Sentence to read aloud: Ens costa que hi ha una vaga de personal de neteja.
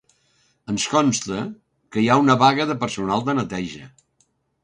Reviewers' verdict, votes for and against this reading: accepted, 2, 0